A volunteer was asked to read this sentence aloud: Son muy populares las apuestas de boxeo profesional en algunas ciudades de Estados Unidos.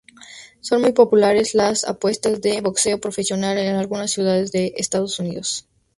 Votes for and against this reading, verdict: 2, 0, accepted